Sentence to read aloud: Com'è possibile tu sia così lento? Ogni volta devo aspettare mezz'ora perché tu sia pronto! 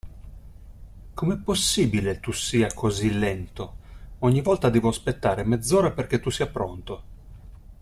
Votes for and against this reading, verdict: 2, 0, accepted